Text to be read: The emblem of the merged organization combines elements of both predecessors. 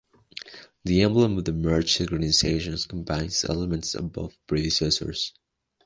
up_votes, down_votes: 2, 0